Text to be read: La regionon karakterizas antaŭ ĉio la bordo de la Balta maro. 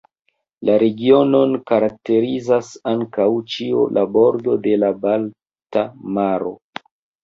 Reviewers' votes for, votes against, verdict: 2, 0, accepted